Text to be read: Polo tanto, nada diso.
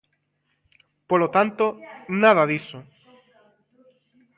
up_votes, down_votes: 1, 2